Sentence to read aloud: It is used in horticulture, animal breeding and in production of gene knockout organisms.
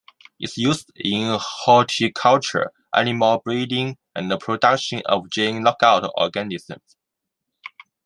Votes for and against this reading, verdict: 2, 0, accepted